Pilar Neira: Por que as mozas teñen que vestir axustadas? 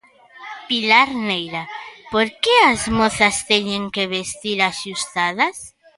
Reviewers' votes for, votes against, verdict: 3, 0, accepted